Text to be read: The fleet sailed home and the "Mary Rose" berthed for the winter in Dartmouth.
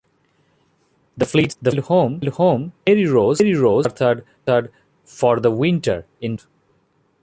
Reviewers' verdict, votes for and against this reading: rejected, 0, 2